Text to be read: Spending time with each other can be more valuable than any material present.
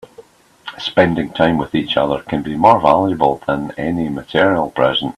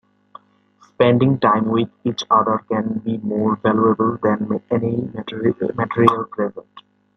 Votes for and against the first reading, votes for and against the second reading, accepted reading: 2, 1, 0, 2, first